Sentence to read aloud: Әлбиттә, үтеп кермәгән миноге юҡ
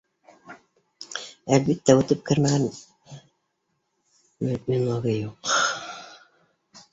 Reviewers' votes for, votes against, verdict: 0, 2, rejected